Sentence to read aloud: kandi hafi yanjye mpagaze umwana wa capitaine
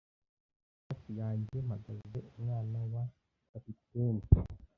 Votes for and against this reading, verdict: 1, 2, rejected